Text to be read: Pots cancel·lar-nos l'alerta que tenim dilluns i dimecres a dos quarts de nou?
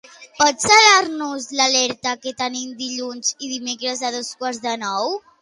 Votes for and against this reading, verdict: 0, 2, rejected